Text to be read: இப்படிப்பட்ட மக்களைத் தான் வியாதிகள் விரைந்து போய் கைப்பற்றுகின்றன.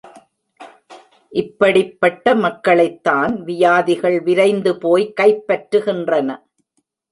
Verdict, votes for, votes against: rejected, 1, 2